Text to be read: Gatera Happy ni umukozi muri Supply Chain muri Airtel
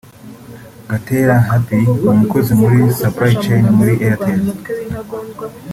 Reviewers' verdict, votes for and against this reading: accepted, 2, 1